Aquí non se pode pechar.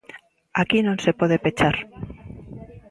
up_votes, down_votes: 3, 0